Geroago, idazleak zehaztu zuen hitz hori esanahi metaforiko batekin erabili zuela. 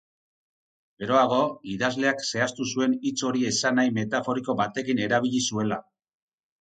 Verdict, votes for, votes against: accepted, 6, 0